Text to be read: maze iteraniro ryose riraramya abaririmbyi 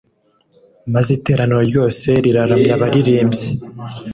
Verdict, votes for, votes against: accepted, 2, 0